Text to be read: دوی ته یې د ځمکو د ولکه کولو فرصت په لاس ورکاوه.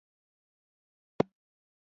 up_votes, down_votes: 1, 2